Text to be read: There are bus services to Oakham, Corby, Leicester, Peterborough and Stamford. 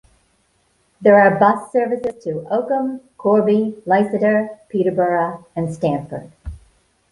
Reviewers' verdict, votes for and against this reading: accepted, 2, 0